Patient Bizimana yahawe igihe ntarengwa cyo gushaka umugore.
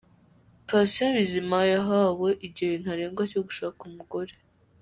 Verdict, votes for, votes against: rejected, 1, 2